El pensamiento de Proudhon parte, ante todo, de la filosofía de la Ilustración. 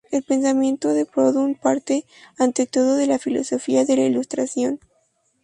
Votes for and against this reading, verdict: 2, 0, accepted